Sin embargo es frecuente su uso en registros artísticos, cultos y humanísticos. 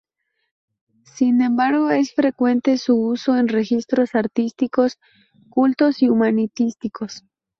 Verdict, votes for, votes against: rejected, 0, 2